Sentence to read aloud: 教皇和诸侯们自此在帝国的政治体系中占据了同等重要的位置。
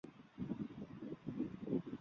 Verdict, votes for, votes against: rejected, 0, 2